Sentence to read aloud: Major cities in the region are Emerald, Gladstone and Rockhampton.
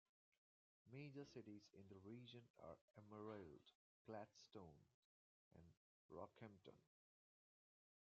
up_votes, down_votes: 0, 2